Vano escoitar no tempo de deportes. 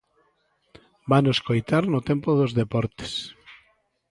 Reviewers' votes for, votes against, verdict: 0, 2, rejected